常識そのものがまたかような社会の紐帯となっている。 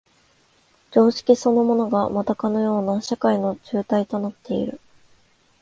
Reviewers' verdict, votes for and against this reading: accepted, 2, 0